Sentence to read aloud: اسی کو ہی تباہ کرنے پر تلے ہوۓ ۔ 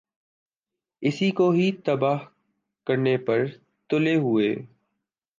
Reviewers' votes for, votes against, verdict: 2, 1, accepted